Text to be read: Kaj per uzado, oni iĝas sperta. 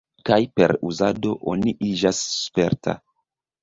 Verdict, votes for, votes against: accepted, 3, 2